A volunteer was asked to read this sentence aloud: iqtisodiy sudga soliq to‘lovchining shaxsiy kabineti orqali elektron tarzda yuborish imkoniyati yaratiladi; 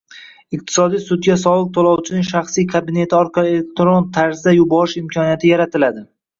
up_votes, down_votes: 0, 2